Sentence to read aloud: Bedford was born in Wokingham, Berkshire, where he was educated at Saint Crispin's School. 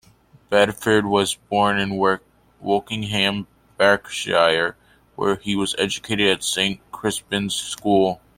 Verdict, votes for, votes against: rejected, 0, 2